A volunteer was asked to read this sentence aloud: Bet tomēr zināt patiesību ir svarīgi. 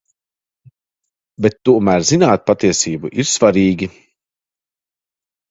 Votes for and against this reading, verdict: 2, 0, accepted